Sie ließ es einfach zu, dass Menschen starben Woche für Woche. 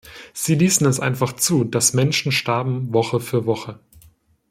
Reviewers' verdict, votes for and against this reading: rejected, 1, 2